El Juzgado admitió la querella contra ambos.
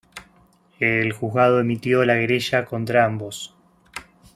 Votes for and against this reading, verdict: 1, 2, rejected